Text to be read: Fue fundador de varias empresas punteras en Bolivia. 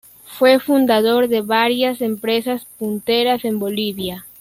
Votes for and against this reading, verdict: 2, 0, accepted